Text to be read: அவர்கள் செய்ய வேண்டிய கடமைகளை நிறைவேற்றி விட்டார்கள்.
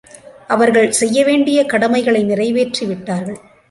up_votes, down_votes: 2, 0